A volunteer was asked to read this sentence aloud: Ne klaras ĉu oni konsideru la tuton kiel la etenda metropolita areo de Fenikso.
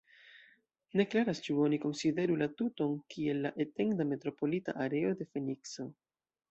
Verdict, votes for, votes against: rejected, 0, 2